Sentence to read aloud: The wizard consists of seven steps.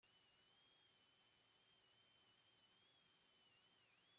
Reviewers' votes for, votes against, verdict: 0, 2, rejected